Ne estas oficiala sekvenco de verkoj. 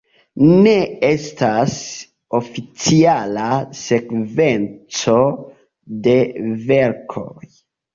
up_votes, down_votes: 1, 2